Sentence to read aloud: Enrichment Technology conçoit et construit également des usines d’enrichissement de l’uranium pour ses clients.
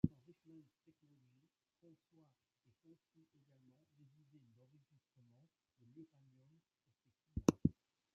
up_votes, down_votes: 0, 2